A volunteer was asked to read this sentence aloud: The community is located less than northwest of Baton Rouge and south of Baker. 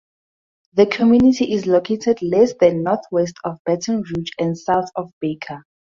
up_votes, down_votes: 4, 0